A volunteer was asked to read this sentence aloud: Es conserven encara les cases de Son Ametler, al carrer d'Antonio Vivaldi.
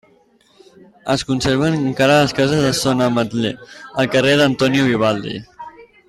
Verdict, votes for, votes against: rejected, 0, 2